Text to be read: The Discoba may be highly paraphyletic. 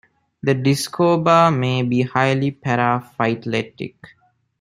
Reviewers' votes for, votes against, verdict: 0, 2, rejected